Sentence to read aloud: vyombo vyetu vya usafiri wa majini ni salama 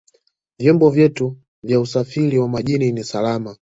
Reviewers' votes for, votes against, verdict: 3, 1, accepted